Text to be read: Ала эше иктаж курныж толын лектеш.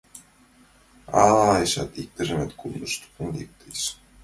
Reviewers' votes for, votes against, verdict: 2, 0, accepted